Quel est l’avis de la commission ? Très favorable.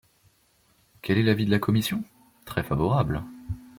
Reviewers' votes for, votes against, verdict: 2, 0, accepted